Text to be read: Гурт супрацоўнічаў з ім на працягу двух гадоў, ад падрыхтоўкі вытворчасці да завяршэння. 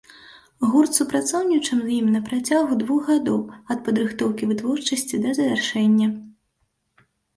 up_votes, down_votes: 2, 0